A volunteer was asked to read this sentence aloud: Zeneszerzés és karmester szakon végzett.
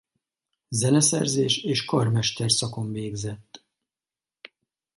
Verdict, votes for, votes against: accepted, 4, 0